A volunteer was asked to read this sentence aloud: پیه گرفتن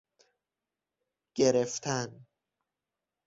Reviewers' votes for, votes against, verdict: 0, 6, rejected